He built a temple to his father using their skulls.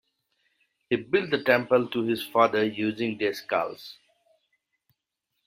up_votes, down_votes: 2, 0